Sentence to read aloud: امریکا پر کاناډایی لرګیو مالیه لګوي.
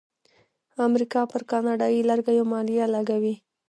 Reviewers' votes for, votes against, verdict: 0, 2, rejected